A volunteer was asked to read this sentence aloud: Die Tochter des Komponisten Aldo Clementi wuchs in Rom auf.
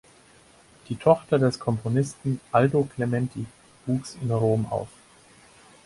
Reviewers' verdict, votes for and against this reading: accepted, 4, 0